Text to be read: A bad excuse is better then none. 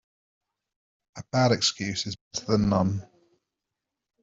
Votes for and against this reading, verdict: 0, 2, rejected